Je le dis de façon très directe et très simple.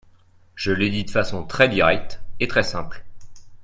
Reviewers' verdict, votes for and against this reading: rejected, 0, 2